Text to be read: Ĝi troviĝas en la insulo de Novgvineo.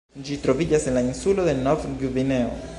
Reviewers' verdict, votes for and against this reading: accepted, 2, 0